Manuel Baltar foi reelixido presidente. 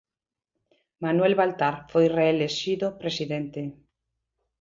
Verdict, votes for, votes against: rejected, 0, 2